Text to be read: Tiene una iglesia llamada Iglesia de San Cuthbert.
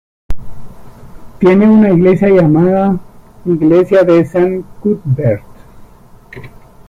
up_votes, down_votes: 1, 2